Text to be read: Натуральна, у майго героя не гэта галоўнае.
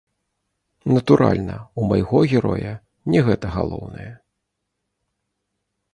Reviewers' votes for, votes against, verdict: 2, 0, accepted